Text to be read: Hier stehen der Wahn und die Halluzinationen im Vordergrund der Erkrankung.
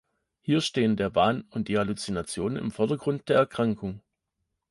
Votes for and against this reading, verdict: 2, 0, accepted